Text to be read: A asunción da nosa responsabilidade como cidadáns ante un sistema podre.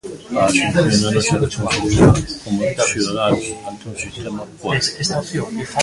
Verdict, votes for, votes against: rejected, 0, 2